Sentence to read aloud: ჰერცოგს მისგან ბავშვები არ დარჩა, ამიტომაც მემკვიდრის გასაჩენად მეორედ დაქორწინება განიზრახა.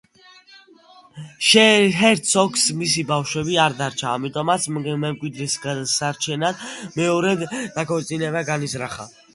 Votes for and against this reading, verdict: 1, 2, rejected